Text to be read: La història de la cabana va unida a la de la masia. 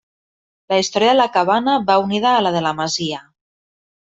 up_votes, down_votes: 1, 2